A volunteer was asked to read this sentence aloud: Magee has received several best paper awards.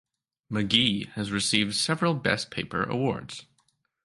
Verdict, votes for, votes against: accepted, 2, 0